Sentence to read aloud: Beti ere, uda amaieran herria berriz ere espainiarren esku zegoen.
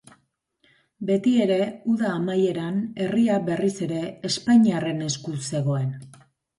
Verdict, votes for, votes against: accepted, 2, 0